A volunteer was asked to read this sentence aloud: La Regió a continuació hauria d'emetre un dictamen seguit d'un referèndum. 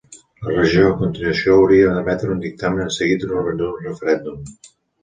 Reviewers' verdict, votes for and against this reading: rejected, 0, 2